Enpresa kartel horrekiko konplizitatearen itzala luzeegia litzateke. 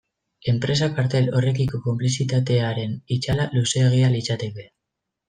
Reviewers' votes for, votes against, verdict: 0, 2, rejected